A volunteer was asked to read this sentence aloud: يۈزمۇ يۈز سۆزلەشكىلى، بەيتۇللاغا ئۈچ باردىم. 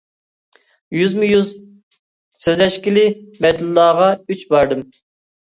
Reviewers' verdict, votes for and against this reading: rejected, 1, 2